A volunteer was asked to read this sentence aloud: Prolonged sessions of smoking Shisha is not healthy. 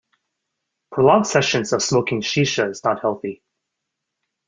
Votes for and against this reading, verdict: 2, 0, accepted